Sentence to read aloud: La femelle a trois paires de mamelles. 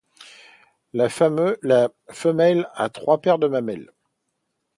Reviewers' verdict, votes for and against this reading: rejected, 0, 2